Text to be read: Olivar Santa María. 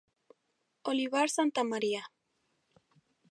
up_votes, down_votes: 2, 2